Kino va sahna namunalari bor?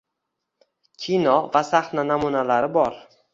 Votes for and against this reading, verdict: 2, 0, accepted